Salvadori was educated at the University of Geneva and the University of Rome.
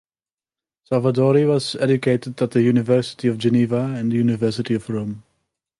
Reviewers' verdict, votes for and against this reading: accepted, 2, 0